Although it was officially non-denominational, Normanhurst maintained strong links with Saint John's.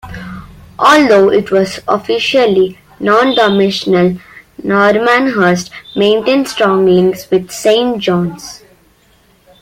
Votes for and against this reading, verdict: 0, 2, rejected